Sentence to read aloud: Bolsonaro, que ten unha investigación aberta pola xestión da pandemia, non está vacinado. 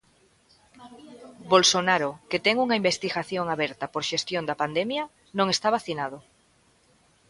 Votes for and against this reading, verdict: 0, 2, rejected